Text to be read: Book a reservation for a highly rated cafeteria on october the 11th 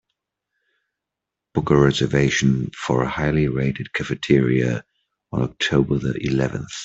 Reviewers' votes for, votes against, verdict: 0, 2, rejected